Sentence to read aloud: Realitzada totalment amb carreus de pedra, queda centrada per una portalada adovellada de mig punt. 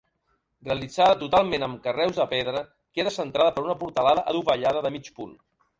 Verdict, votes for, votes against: accepted, 2, 0